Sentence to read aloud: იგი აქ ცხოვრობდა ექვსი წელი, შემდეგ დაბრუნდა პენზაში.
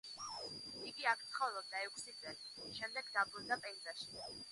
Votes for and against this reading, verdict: 0, 2, rejected